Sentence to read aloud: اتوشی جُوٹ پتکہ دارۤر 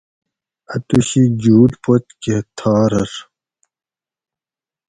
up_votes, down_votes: 2, 2